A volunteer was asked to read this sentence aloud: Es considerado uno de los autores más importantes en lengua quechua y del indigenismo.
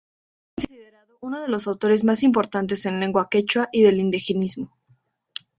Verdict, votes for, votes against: rejected, 0, 2